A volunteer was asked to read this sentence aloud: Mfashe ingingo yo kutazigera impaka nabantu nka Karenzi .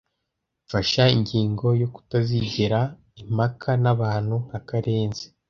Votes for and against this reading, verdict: 0, 2, rejected